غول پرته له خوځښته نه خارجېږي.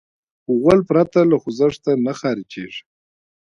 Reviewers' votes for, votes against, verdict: 2, 0, accepted